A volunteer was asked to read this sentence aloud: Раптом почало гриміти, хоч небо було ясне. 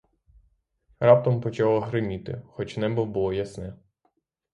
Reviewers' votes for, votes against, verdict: 6, 3, accepted